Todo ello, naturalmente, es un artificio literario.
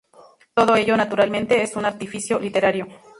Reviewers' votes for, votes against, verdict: 2, 0, accepted